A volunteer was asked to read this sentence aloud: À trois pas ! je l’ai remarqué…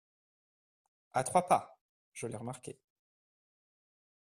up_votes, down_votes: 2, 0